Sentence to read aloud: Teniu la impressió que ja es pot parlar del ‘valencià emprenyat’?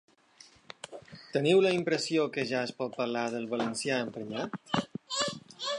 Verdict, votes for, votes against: accepted, 2, 0